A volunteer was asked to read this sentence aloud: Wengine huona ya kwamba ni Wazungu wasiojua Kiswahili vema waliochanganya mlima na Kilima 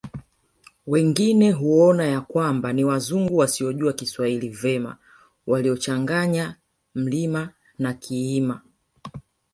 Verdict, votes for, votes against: rejected, 1, 2